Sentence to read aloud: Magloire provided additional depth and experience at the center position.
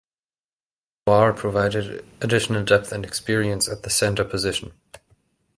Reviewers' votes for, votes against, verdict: 1, 2, rejected